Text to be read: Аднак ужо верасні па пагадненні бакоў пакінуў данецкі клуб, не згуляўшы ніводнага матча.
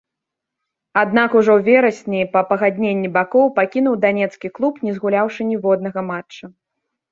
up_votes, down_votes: 3, 0